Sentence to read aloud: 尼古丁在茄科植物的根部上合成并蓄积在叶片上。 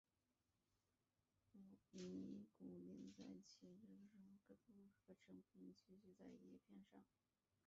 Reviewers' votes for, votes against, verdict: 0, 3, rejected